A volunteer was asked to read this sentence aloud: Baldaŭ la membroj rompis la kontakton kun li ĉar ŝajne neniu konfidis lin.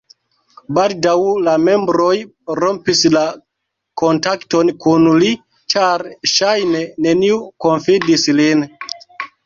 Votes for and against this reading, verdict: 1, 2, rejected